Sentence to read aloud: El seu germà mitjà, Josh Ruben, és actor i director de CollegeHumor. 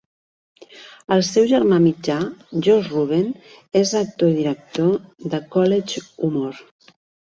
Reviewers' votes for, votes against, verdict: 3, 0, accepted